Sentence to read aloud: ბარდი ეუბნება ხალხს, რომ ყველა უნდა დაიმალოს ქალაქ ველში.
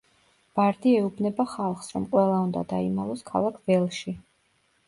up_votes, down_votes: 2, 0